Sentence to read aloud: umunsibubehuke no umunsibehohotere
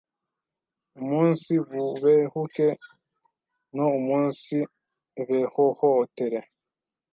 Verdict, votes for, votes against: rejected, 1, 2